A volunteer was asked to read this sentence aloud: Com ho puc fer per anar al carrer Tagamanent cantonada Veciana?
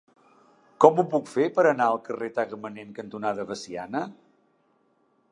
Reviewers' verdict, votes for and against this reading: accepted, 2, 0